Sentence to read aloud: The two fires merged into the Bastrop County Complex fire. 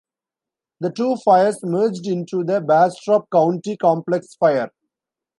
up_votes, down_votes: 2, 0